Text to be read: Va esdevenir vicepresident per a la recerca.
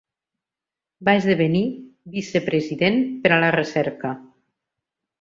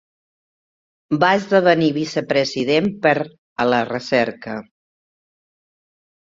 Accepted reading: first